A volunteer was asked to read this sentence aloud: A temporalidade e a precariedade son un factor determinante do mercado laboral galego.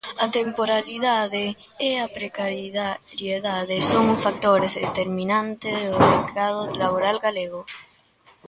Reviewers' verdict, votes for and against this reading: rejected, 0, 3